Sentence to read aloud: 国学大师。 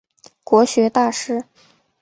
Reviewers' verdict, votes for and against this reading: accepted, 2, 0